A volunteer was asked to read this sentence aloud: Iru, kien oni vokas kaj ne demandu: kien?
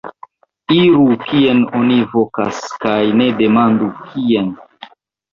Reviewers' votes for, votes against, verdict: 2, 1, accepted